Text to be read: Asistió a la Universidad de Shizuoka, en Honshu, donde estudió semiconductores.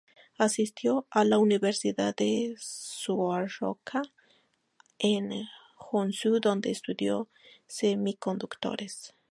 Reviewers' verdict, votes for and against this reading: rejected, 0, 4